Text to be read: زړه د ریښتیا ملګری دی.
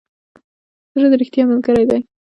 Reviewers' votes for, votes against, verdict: 2, 0, accepted